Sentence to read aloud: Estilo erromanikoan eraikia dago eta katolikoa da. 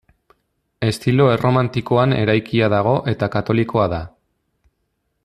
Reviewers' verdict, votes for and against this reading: rejected, 0, 2